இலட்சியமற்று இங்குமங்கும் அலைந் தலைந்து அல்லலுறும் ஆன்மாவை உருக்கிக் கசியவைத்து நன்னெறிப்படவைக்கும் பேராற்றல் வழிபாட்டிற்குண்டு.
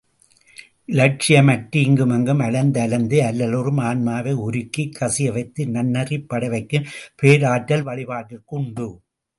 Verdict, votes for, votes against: accepted, 2, 0